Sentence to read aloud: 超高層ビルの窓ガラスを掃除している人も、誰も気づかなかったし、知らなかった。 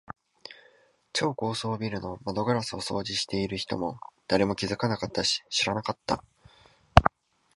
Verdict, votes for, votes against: accepted, 2, 0